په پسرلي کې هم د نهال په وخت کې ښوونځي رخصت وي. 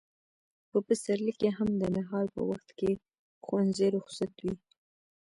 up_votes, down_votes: 1, 2